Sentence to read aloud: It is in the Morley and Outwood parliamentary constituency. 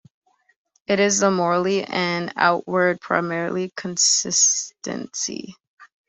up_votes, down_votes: 0, 2